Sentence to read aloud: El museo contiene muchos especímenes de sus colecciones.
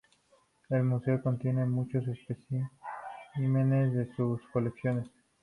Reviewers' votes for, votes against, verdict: 2, 0, accepted